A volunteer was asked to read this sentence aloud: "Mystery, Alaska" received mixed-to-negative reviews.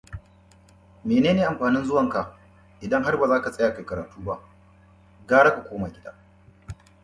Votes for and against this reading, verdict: 0, 2, rejected